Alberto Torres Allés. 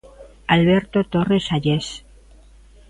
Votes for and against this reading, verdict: 2, 0, accepted